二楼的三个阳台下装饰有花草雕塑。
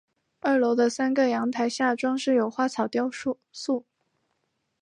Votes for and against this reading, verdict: 3, 2, accepted